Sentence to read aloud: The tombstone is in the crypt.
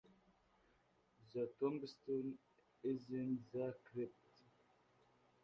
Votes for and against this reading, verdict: 0, 3, rejected